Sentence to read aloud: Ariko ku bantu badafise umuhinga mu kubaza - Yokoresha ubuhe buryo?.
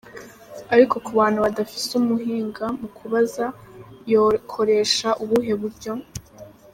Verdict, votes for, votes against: accepted, 2, 0